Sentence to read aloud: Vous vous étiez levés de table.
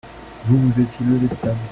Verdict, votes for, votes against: rejected, 1, 2